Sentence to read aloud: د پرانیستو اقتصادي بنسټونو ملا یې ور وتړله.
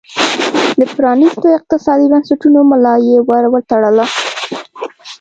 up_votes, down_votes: 0, 2